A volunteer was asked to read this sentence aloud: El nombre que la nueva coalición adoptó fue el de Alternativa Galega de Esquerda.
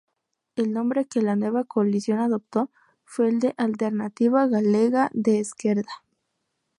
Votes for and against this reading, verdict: 0, 2, rejected